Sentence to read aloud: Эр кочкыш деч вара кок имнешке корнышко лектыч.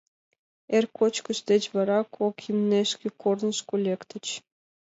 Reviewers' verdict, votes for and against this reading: accepted, 2, 0